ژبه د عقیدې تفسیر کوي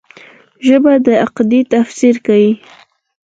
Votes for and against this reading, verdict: 4, 2, accepted